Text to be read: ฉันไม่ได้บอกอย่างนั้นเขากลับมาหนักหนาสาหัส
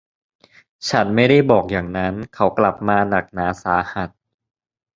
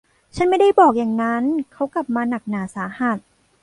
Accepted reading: first